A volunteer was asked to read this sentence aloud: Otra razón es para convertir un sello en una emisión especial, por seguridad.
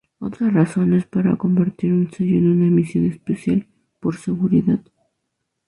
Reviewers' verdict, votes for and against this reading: rejected, 0, 2